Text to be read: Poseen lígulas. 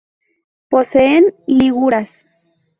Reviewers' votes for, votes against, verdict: 2, 2, rejected